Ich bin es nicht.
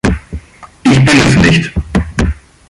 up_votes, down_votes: 2, 3